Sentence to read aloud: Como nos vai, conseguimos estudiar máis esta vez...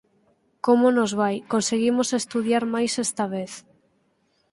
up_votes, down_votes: 4, 0